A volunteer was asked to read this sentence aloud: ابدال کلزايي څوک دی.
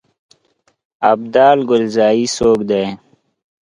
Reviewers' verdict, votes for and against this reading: rejected, 1, 2